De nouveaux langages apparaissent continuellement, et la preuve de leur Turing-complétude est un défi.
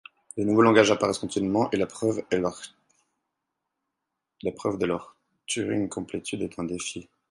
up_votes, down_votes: 0, 4